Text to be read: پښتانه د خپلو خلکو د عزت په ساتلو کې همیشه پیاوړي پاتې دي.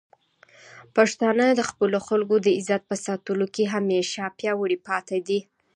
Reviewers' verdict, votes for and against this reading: accepted, 2, 0